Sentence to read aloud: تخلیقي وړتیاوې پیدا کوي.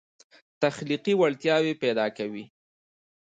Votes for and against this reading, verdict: 1, 2, rejected